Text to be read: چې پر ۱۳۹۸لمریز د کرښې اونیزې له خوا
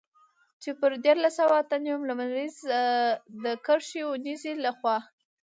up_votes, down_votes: 0, 2